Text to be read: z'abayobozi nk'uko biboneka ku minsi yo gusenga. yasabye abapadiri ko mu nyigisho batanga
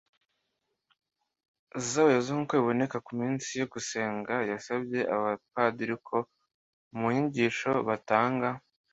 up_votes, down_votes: 2, 0